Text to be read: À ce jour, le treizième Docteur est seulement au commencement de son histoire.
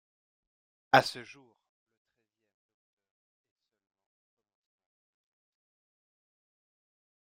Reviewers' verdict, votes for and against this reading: rejected, 0, 2